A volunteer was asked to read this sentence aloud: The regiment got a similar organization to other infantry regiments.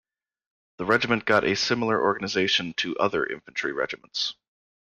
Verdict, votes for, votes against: accepted, 2, 0